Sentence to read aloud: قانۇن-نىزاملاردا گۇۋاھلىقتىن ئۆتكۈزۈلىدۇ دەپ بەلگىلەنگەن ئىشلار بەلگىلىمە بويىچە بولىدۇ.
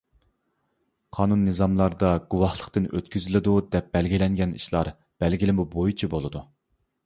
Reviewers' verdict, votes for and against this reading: accepted, 2, 0